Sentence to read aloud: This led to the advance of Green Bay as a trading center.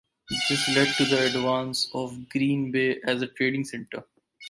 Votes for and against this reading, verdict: 2, 4, rejected